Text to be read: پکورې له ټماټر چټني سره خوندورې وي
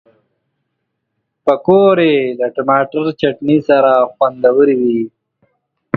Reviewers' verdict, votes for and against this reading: accepted, 2, 0